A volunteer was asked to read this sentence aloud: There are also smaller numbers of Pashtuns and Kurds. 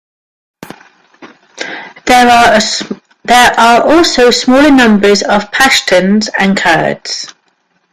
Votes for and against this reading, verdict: 0, 2, rejected